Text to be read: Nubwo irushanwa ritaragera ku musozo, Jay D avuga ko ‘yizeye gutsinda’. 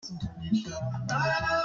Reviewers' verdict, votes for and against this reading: rejected, 0, 2